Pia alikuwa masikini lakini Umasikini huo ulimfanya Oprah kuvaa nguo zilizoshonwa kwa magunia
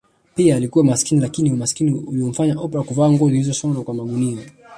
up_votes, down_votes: 1, 2